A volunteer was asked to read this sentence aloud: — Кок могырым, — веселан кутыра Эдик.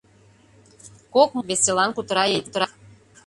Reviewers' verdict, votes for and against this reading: rejected, 0, 2